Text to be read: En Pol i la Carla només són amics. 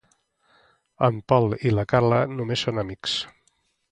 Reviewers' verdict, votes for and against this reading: accepted, 2, 0